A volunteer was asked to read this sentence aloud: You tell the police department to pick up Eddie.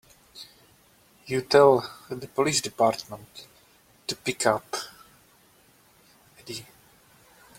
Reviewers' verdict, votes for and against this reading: rejected, 0, 2